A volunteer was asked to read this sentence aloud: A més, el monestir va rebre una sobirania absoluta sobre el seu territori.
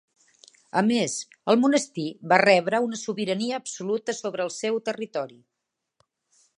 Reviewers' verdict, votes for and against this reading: accepted, 3, 0